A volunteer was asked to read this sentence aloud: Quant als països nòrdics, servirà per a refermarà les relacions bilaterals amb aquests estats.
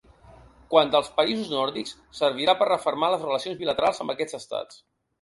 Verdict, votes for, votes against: rejected, 0, 2